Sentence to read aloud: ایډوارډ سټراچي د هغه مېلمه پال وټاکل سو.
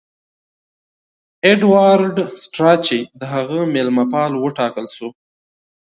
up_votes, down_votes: 2, 0